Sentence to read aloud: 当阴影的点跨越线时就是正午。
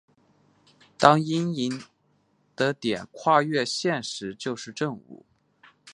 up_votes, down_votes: 3, 1